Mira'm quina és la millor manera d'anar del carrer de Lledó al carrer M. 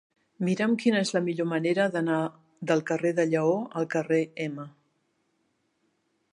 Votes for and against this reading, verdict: 0, 2, rejected